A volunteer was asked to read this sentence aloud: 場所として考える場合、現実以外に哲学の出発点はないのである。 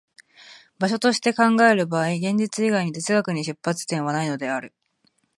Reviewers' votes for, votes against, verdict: 2, 0, accepted